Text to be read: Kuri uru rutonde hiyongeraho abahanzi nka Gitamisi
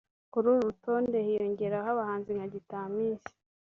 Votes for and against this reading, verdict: 2, 0, accepted